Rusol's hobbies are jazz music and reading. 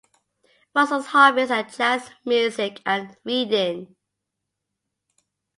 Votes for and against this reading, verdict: 2, 0, accepted